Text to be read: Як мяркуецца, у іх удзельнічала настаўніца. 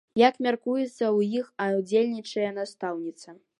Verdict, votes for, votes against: rejected, 0, 2